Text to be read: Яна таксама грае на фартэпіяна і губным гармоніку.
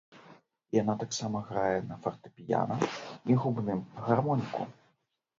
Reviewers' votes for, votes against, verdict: 1, 2, rejected